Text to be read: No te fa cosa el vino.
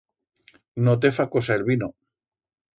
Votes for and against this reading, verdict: 2, 0, accepted